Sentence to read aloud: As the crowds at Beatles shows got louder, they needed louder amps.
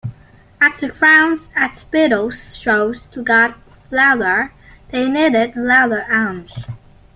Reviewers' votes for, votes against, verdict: 0, 2, rejected